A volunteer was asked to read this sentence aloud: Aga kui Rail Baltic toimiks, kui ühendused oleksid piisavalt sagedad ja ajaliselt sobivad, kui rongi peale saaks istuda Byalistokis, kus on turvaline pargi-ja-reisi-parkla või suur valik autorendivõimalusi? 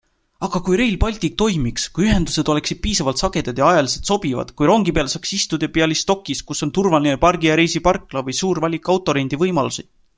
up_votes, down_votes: 2, 0